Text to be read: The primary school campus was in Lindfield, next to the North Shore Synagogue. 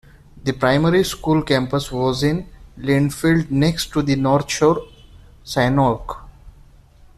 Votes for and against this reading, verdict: 1, 2, rejected